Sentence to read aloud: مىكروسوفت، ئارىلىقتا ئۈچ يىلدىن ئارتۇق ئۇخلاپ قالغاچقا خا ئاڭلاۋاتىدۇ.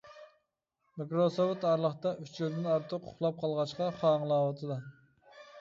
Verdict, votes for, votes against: accepted, 2, 0